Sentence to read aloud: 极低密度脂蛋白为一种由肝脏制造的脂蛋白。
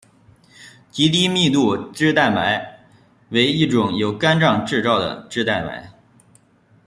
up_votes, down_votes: 1, 2